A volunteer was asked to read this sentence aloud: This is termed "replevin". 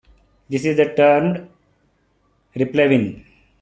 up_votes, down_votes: 2, 0